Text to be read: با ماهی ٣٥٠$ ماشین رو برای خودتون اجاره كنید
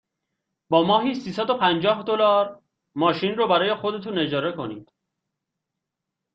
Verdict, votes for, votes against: rejected, 0, 2